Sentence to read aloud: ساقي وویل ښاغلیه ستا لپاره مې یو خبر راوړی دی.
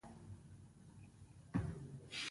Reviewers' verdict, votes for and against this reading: rejected, 0, 2